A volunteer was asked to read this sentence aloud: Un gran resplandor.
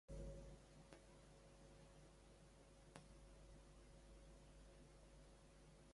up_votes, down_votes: 0, 2